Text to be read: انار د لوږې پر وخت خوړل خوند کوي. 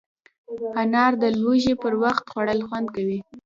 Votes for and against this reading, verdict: 0, 2, rejected